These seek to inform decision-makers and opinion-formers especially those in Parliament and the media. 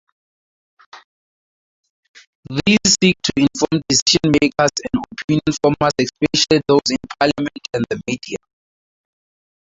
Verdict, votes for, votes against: rejected, 0, 2